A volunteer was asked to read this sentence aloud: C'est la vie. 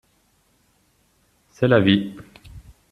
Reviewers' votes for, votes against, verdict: 2, 0, accepted